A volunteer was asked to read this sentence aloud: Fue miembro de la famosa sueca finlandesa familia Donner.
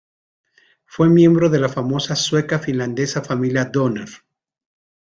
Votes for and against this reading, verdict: 2, 0, accepted